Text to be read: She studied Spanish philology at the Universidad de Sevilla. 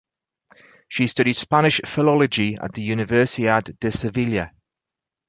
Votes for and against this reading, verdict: 2, 2, rejected